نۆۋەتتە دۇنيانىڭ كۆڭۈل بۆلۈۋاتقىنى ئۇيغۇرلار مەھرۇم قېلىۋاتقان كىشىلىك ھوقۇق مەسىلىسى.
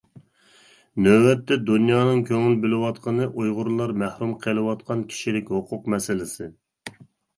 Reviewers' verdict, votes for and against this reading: accepted, 2, 0